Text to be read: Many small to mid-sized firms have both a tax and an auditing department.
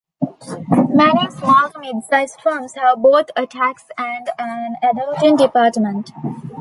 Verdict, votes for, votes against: accepted, 2, 1